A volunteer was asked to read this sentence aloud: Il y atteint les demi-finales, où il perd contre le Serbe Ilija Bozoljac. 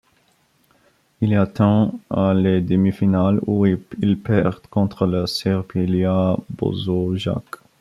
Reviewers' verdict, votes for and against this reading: rejected, 1, 2